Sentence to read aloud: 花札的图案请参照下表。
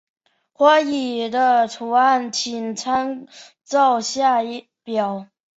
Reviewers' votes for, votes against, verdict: 0, 2, rejected